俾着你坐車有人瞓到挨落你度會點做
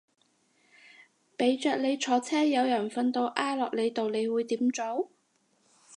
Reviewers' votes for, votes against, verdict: 0, 2, rejected